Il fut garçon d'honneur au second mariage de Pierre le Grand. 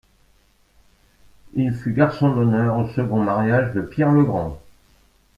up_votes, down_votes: 1, 2